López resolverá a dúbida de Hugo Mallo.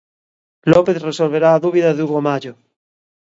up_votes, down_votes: 2, 0